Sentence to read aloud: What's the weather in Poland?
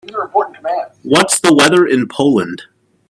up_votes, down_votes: 0, 2